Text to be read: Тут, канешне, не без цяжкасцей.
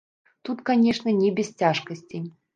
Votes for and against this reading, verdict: 0, 2, rejected